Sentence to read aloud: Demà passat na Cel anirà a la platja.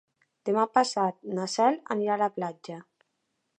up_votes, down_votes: 4, 0